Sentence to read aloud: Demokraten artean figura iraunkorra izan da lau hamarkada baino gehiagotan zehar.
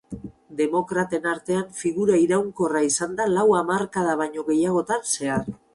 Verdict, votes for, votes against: accepted, 4, 0